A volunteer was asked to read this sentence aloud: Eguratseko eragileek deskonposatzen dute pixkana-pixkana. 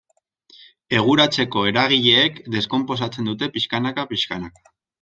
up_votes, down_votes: 0, 2